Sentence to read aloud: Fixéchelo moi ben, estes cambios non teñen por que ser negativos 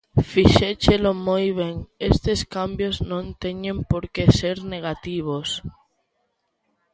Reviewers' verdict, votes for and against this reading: accepted, 2, 0